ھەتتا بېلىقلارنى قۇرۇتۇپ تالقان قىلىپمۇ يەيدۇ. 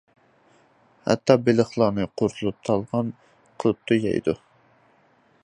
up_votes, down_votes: 0, 2